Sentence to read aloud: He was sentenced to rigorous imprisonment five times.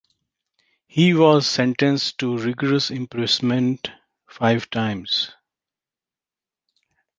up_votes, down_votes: 2, 1